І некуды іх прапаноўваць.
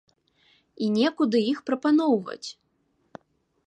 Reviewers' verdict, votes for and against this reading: accepted, 2, 0